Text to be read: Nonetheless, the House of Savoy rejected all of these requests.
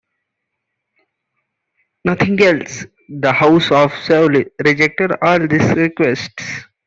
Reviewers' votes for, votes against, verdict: 0, 2, rejected